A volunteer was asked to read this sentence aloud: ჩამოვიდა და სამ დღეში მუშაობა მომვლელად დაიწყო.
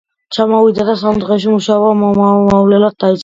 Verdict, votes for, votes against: rejected, 0, 2